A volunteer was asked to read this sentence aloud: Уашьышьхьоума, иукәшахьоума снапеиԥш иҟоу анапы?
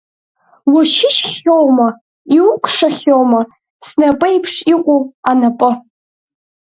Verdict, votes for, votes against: accepted, 4, 1